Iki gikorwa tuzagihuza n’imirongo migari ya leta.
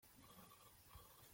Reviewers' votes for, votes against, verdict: 1, 2, rejected